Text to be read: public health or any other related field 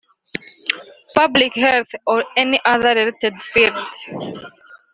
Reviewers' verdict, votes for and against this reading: rejected, 2, 3